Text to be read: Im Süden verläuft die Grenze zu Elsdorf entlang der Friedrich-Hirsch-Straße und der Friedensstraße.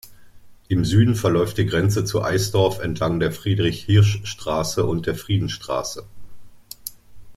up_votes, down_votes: 0, 2